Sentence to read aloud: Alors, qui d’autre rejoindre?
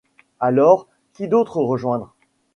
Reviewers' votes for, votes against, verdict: 2, 0, accepted